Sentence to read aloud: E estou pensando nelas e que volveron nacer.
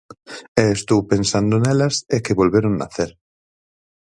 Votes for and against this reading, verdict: 4, 0, accepted